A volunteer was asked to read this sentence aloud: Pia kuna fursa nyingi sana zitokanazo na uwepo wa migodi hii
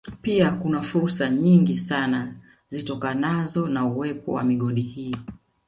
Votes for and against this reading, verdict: 2, 1, accepted